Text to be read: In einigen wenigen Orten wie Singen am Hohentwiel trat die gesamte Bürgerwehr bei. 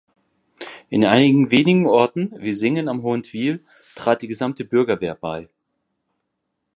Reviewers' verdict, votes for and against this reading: accepted, 2, 0